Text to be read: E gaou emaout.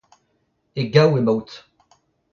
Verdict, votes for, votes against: accepted, 2, 0